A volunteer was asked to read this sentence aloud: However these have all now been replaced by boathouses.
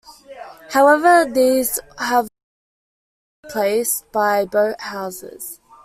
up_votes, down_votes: 0, 2